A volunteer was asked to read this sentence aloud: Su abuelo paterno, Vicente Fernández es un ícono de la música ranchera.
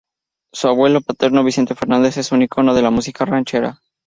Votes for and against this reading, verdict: 0, 2, rejected